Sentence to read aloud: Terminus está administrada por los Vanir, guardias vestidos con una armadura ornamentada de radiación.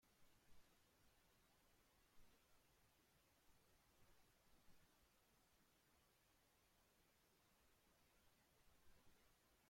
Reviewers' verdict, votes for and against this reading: rejected, 0, 2